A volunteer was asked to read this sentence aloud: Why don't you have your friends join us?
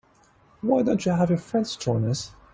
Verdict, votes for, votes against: rejected, 1, 2